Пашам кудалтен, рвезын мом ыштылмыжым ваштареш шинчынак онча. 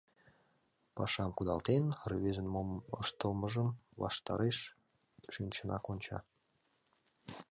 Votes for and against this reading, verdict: 2, 0, accepted